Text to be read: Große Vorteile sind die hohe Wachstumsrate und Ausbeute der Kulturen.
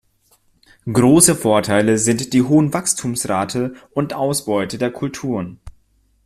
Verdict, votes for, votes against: rejected, 0, 2